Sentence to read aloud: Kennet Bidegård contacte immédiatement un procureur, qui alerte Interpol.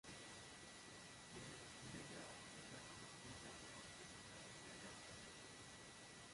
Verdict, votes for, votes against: rejected, 0, 2